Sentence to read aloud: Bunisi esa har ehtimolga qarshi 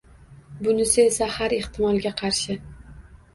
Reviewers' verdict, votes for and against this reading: rejected, 1, 2